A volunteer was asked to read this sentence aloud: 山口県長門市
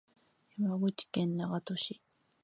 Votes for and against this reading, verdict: 3, 1, accepted